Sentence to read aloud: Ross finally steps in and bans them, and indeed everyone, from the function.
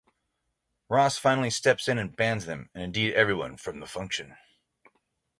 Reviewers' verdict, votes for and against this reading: accepted, 3, 0